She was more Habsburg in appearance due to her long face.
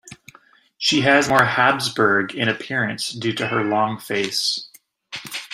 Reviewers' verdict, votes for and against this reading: accepted, 2, 1